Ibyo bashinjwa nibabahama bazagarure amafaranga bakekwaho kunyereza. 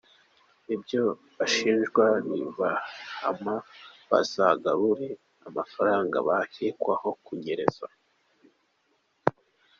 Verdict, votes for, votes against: accepted, 2, 0